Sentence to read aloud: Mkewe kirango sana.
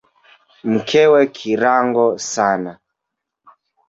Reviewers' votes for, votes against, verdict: 0, 2, rejected